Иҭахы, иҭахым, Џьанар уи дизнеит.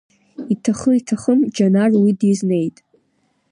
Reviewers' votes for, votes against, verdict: 2, 0, accepted